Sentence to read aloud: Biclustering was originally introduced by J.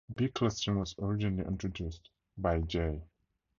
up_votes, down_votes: 2, 0